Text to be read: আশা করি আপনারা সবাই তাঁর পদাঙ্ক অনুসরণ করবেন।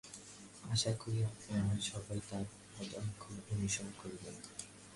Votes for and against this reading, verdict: 0, 2, rejected